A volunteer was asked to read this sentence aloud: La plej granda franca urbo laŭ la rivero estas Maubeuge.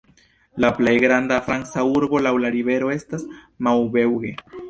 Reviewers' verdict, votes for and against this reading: rejected, 1, 2